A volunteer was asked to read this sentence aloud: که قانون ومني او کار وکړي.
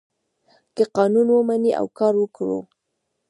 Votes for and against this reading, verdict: 2, 1, accepted